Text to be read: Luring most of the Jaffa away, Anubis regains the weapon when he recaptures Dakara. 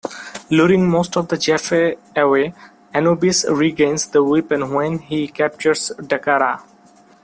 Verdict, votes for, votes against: rejected, 0, 3